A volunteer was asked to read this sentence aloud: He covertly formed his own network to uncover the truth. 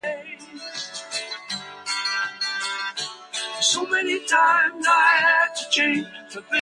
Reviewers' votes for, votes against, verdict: 0, 2, rejected